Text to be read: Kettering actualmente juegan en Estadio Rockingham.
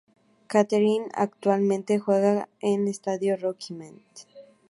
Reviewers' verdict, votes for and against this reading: accepted, 2, 0